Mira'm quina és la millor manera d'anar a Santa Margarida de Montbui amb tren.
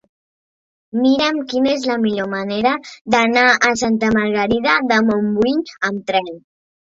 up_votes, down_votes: 4, 0